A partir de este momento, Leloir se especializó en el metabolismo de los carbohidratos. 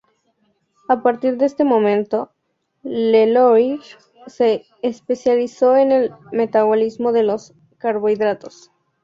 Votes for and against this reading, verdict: 2, 0, accepted